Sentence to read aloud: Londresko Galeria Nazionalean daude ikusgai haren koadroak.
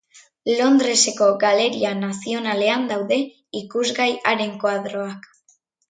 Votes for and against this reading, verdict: 1, 2, rejected